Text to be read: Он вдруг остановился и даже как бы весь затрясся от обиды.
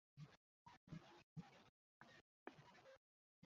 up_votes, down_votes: 0, 2